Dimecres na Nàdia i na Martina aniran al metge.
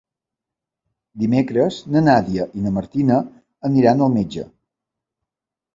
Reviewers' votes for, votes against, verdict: 3, 0, accepted